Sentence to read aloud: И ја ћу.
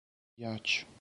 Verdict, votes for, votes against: rejected, 0, 4